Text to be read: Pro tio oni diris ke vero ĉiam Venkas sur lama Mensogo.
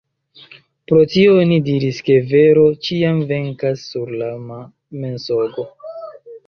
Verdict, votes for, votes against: accepted, 2, 1